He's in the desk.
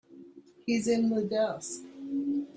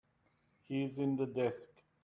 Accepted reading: second